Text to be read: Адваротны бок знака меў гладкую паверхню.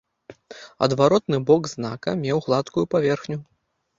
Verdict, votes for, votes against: accepted, 2, 0